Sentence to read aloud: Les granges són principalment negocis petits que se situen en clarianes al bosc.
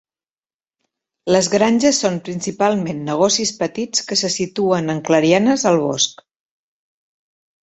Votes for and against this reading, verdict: 3, 0, accepted